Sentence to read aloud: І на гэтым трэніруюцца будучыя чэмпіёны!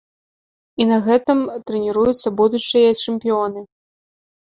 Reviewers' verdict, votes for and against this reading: rejected, 1, 2